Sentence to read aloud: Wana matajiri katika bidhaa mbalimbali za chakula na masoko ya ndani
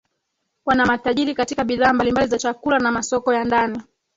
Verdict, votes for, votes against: rejected, 1, 3